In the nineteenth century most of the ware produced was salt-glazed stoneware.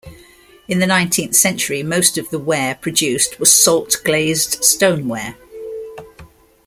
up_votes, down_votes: 2, 0